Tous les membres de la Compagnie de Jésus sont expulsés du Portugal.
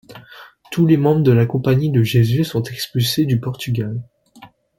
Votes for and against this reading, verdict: 2, 0, accepted